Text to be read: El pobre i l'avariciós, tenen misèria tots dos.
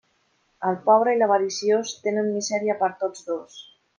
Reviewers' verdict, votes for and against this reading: rejected, 0, 2